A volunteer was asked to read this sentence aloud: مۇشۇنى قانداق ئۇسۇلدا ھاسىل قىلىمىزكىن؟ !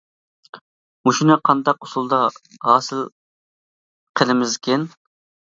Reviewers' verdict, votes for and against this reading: accepted, 2, 0